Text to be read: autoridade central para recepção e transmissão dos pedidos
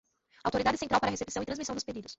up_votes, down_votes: 2, 1